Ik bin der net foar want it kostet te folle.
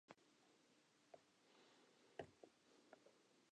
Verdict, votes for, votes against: rejected, 0, 2